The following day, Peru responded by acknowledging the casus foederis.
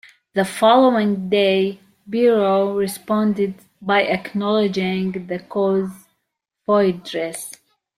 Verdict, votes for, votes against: rejected, 1, 2